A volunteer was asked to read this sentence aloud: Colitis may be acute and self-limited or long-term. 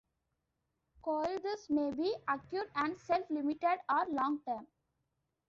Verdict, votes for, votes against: accepted, 2, 1